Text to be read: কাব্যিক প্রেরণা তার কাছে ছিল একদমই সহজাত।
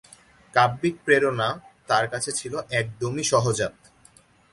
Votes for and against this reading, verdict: 0, 2, rejected